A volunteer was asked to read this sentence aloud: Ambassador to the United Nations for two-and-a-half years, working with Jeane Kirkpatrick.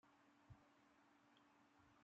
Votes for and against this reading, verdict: 0, 2, rejected